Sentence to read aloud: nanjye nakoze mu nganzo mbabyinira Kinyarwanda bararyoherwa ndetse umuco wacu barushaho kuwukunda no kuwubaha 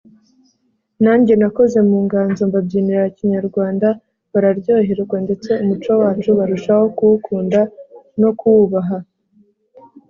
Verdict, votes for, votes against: accepted, 2, 0